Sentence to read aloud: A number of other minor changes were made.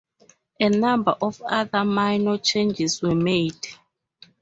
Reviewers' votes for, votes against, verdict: 2, 0, accepted